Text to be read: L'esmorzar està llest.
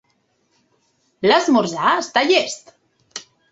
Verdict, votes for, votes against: accepted, 2, 0